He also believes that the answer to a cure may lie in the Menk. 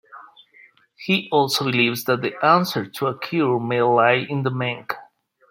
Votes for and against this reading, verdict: 2, 0, accepted